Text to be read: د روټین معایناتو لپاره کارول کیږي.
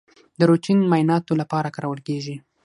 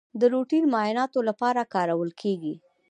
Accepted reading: first